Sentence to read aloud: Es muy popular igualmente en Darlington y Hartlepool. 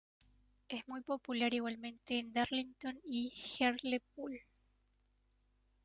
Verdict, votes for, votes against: rejected, 1, 2